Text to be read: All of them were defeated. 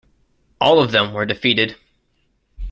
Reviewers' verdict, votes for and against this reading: accepted, 2, 1